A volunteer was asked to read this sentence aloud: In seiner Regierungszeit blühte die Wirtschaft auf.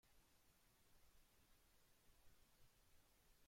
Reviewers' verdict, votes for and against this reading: rejected, 0, 2